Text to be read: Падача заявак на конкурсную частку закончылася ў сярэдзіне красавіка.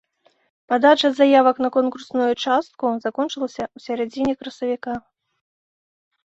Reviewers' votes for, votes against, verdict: 0, 2, rejected